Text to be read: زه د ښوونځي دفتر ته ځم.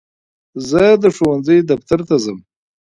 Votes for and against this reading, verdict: 1, 2, rejected